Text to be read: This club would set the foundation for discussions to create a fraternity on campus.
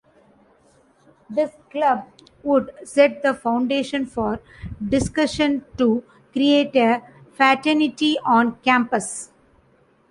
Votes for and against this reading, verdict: 1, 2, rejected